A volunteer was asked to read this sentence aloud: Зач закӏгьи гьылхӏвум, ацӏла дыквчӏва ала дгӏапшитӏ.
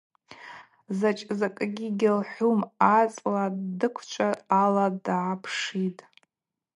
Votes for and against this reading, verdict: 0, 2, rejected